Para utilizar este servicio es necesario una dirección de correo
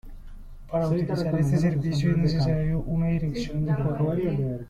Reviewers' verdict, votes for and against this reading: rejected, 1, 2